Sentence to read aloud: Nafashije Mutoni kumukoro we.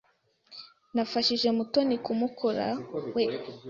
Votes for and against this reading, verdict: 0, 2, rejected